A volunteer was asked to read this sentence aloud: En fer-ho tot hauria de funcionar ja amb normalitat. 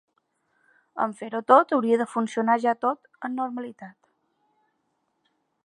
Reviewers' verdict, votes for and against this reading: rejected, 0, 2